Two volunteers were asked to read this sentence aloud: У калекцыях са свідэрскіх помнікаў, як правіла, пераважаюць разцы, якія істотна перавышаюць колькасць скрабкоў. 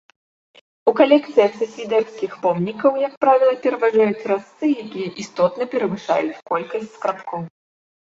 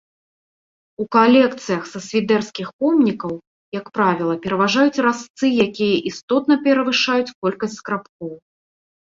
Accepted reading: first